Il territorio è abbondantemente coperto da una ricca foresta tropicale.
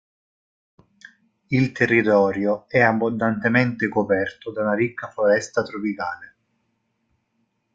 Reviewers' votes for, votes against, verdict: 0, 2, rejected